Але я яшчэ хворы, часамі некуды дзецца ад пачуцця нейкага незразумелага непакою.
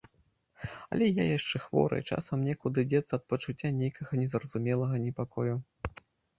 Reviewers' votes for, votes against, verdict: 0, 2, rejected